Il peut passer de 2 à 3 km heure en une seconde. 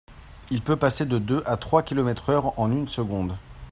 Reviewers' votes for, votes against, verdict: 0, 2, rejected